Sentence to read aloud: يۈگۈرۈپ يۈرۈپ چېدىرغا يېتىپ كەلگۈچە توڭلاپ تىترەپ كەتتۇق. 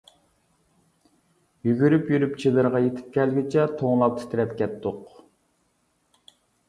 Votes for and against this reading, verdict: 2, 0, accepted